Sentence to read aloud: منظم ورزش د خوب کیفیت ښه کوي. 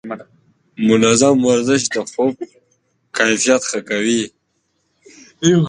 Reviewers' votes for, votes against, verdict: 1, 2, rejected